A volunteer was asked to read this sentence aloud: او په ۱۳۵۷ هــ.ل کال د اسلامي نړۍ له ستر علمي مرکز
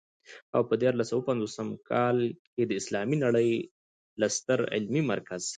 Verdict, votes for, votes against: rejected, 0, 2